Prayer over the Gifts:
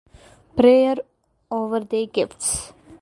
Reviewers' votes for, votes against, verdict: 0, 2, rejected